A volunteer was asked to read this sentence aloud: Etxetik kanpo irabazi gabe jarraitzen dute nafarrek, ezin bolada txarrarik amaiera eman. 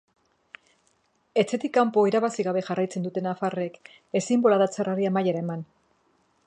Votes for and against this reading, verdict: 1, 2, rejected